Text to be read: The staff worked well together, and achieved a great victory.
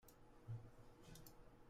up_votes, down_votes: 0, 2